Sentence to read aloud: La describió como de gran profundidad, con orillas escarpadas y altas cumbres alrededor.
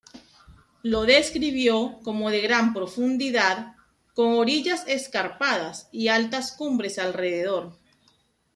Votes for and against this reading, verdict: 2, 1, accepted